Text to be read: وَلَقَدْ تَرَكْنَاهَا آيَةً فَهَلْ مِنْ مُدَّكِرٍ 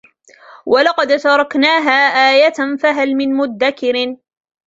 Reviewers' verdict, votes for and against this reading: accepted, 2, 0